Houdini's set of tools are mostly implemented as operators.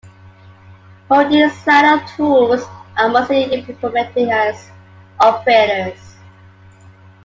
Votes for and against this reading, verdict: 1, 2, rejected